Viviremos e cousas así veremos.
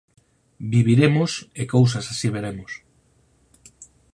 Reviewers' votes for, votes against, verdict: 4, 0, accepted